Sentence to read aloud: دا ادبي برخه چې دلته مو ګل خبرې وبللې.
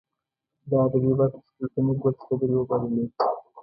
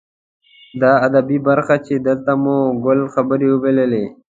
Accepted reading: second